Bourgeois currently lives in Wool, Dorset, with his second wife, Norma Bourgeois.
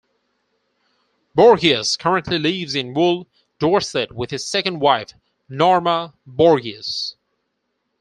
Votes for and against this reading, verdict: 0, 4, rejected